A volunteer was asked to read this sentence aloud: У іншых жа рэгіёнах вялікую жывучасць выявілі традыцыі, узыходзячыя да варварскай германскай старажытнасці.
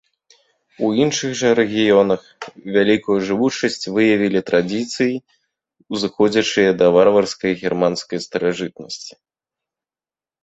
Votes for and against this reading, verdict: 0, 2, rejected